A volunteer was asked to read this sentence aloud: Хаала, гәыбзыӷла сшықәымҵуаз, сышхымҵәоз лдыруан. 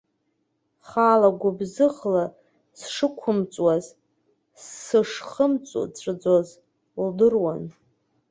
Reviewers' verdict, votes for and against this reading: rejected, 0, 2